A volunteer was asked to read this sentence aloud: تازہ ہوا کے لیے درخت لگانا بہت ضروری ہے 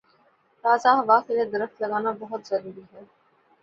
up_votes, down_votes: 2, 0